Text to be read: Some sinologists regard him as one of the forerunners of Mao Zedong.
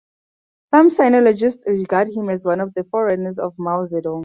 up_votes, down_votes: 4, 0